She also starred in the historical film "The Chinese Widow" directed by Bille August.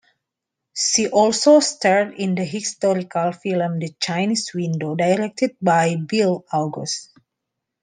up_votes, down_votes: 1, 2